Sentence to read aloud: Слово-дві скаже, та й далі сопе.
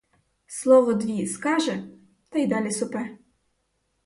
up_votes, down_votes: 4, 0